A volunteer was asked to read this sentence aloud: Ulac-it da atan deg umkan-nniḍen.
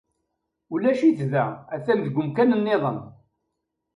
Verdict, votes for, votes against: accepted, 3, 0